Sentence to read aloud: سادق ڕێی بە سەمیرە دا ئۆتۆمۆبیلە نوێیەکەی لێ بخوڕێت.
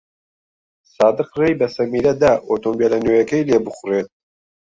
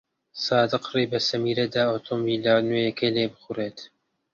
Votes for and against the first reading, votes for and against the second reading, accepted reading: 0, 2, 2, 0, second